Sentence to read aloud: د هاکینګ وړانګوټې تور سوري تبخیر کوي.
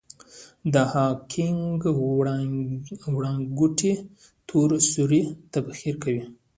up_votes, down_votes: 0, 2